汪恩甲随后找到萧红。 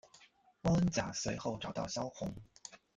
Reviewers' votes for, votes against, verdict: 1, 2, rejected